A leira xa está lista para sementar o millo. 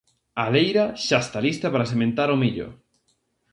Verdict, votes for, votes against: accepted, 2, 0